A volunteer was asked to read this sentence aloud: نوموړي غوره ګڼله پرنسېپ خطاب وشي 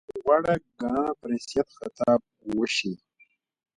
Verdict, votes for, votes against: rejected, 1, 2